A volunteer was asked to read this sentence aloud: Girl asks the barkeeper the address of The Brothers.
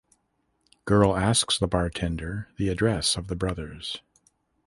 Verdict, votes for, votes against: rejected, 1, 2